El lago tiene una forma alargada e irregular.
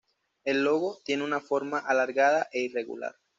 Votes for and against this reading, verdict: 1, 2, rejected